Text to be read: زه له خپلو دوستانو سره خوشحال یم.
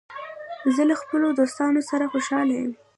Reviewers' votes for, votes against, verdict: 2, 0, accepted